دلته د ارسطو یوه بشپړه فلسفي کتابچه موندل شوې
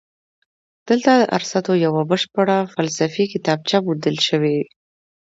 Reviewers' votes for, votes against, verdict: 2, 0, accepted